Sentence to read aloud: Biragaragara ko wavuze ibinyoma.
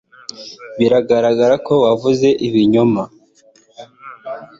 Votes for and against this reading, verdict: 2, 0, accepted